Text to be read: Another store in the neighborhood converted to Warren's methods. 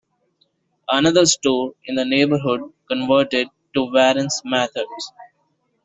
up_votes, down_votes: 0, 2